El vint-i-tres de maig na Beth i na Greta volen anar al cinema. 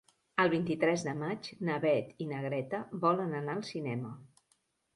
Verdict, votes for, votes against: accepted, 3, 0